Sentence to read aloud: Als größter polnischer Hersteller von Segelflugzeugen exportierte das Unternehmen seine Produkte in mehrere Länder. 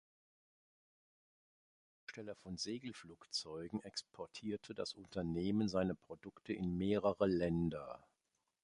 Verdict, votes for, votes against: rejected, 0, 2